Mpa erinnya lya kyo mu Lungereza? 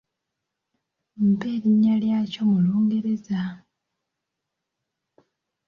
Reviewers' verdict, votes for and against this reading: accepted, 2, 0